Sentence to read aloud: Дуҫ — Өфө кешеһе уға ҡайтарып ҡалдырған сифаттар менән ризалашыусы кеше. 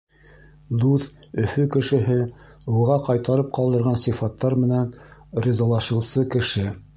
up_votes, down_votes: 1, 2